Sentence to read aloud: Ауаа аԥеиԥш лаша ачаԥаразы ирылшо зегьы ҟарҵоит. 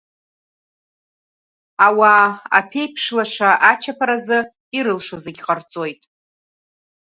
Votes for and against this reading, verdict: 1, 2, rejected